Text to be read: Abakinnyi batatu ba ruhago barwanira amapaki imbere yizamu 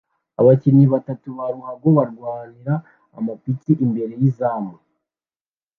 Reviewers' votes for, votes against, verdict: 1, 2, rejected